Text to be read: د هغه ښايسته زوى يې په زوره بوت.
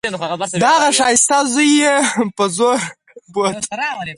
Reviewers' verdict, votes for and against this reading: accepted, 4, 2